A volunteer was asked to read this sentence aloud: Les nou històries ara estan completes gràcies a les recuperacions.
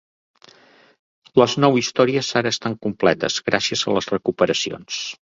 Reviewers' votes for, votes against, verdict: 3, 0, accepted